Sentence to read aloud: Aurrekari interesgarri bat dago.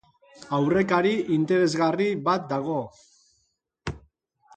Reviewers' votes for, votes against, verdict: 2, 0, accepted